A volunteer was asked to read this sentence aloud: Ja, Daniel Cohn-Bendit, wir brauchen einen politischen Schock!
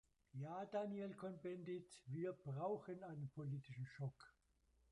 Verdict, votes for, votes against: rejected, 0, 2